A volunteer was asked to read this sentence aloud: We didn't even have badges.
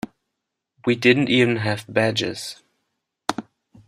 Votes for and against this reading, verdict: 2, 0, accepted